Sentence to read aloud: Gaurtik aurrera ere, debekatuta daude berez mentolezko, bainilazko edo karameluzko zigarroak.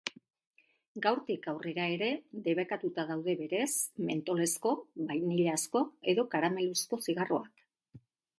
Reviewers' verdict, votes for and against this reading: accepted, 2, 0